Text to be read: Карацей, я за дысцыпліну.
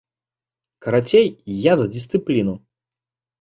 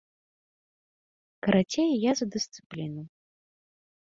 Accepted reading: second